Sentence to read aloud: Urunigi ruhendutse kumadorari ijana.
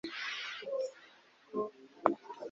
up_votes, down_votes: 1, 2